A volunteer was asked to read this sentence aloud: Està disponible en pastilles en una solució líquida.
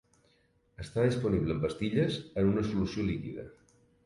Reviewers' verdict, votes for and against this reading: accepted, 3, 0